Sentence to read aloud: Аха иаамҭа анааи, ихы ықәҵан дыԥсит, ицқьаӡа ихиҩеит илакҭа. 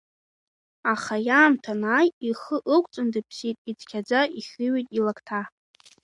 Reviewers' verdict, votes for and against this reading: accepted, 2, 0